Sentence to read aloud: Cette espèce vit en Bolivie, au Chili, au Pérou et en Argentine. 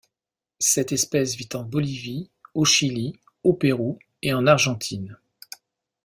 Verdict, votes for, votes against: accepted, 2, 0